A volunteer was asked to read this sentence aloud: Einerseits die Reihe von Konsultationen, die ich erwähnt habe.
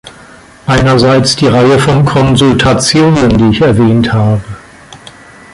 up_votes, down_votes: 2, 0